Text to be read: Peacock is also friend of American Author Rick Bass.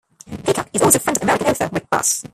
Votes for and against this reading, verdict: 0, 2, rejected